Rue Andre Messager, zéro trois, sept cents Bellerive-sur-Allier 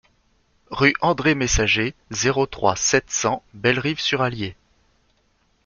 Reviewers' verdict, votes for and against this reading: accepted, 2, 0